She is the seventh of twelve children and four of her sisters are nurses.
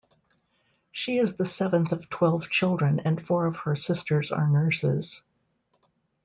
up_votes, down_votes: 2, 0